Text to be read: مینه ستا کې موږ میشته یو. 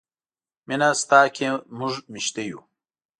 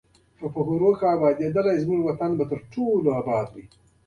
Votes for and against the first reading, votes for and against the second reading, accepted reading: 2, 0, 1, 2, first